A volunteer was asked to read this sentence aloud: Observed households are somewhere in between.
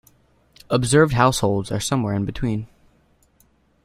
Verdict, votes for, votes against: accepted, 2, 0